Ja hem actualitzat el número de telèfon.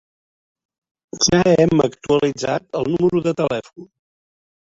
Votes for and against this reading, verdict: 0, 2, rejected